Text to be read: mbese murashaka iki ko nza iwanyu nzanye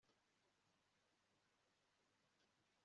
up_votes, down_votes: 1, 2